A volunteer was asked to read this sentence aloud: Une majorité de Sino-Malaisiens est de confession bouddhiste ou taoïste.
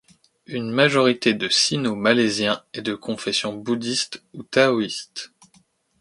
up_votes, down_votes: 2, 0